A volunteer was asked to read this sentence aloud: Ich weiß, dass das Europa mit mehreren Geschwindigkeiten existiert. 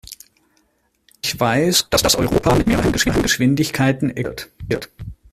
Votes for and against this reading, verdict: 0, 2, rejected